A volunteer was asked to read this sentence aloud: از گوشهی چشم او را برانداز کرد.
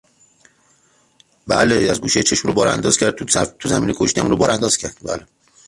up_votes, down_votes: 0, 3